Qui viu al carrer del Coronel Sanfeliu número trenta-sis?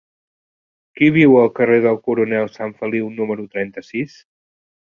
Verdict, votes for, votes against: accepted, 4, 0